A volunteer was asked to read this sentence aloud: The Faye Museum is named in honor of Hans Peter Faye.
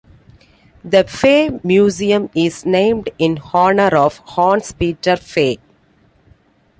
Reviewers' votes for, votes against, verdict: 0, 2, rejected